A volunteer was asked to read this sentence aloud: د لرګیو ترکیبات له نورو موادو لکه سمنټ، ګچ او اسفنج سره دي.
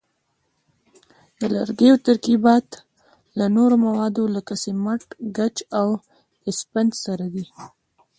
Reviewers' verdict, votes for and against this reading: accepted, 2, 0